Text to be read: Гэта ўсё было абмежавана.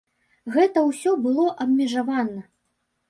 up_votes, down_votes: 2, 0